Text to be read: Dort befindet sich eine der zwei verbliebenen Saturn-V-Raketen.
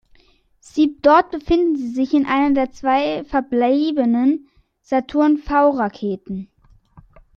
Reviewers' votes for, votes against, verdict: 0, 2, rejected